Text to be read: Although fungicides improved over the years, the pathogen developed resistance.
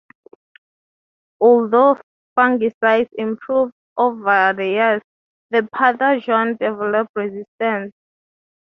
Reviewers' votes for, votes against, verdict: 0, 3, rejected